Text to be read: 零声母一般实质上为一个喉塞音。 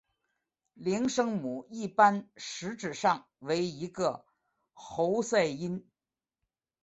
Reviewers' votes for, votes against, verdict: 6, 0, accepted